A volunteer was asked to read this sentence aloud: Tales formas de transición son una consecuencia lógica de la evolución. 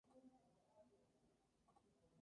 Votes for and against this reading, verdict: 0, 2, rejected